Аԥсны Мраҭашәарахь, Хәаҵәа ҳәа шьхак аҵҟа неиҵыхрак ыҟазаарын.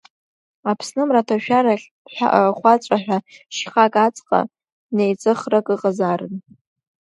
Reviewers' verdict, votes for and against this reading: rejected, 2, 3